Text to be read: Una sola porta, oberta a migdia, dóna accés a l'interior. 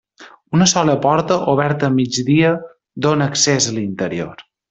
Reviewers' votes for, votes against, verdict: 3, 0, accepted